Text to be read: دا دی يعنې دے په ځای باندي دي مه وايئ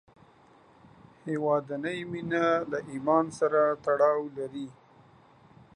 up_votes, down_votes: 1, 2